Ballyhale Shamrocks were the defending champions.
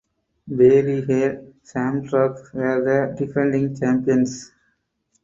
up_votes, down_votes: 4, 2